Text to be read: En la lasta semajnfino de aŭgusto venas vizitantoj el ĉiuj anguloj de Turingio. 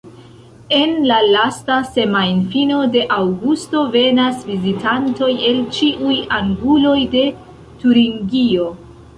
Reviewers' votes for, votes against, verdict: 1, 2, rejected